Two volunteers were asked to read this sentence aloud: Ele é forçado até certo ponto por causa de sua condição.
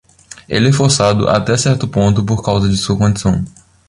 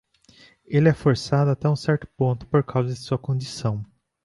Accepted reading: first